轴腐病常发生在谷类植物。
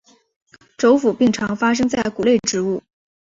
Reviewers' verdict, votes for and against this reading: rejected, 1, 2